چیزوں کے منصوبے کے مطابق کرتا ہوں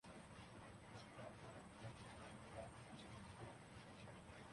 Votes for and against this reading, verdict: 0, 2, rejected